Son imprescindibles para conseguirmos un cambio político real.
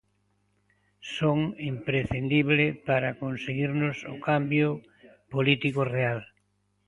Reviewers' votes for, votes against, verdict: 0, 2, rejected